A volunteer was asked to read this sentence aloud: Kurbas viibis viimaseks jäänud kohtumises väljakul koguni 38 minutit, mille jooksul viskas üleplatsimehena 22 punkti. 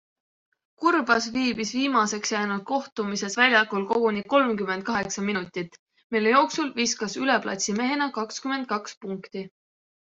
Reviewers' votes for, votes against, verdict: 0, 2, rejected